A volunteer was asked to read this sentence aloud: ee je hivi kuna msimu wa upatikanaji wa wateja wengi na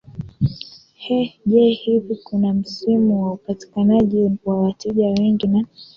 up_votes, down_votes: 2, 1